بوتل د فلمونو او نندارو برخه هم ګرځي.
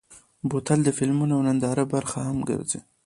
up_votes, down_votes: 2, 0